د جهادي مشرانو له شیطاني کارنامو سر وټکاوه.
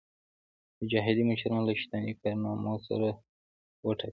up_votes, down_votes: 1, 2